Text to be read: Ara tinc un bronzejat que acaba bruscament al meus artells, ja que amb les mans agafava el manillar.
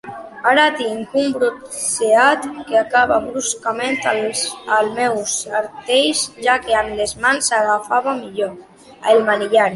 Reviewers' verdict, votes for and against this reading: rejected, 0, 2